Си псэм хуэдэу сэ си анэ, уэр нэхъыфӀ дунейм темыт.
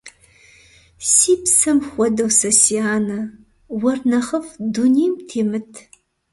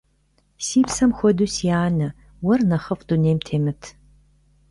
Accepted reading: first